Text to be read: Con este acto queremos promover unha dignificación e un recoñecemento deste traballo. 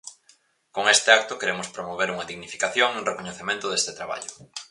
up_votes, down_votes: 4, 0